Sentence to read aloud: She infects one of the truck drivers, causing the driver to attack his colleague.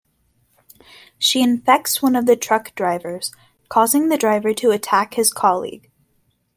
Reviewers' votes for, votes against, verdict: 2, 0, accepted